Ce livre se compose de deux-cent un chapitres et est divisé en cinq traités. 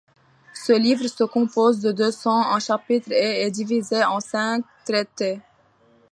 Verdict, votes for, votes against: accepted, 2, 0